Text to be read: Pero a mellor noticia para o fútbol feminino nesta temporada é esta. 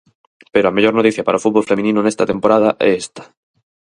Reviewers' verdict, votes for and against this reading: accepted, 4, 0